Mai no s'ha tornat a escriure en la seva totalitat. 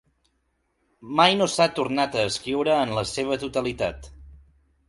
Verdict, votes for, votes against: accepted, 3, 0